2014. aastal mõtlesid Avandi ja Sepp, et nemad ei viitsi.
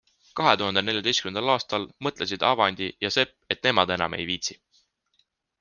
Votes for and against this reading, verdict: 0, 2, rejected